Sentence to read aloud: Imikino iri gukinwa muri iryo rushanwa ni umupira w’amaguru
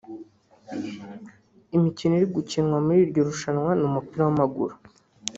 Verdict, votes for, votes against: accepted, 2, 0